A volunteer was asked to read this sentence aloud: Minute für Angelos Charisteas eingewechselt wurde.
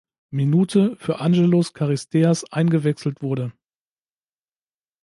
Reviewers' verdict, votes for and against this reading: accepted, 2, 0